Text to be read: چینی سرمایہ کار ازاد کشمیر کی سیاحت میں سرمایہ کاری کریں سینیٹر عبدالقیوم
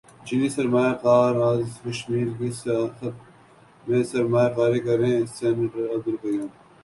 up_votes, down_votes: 0, 2